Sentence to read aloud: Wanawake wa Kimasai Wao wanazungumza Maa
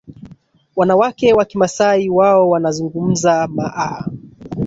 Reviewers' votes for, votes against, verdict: 1, 2, rejected